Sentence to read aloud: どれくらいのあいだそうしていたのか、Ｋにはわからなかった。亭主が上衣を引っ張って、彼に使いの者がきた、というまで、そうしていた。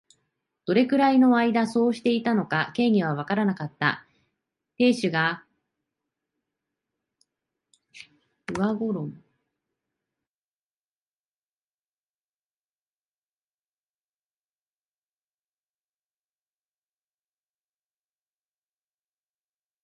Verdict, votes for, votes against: rejected, 0, 2